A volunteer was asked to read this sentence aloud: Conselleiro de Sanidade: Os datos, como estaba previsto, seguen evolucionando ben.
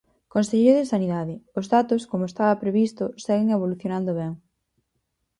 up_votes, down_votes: 4, 0